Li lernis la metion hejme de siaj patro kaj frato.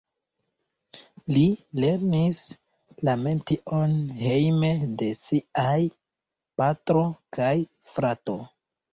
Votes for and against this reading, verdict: 2, 1, accepted